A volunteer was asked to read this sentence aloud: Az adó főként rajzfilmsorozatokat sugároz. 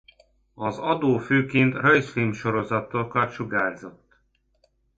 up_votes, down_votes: 0, 2